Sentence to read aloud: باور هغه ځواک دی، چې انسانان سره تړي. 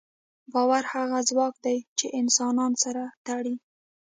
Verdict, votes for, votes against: accepted, 2, 0